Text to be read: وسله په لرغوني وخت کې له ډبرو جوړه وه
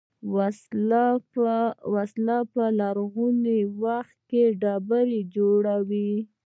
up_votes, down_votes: 1, 2